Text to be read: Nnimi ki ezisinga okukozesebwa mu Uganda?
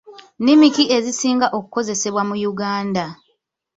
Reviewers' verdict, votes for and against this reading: rejected, 1, 2